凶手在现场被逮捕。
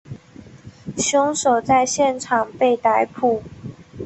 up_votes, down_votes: 3, 0